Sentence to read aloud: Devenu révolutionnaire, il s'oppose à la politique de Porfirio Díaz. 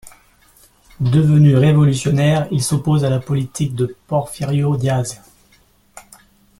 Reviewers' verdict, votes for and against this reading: accepted, 2, 1